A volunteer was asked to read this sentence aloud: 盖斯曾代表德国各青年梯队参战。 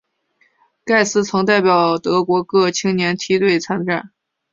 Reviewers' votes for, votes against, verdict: 2, 0, accepted